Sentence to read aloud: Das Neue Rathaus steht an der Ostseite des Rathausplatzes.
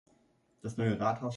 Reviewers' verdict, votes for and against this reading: rejected, 0, 2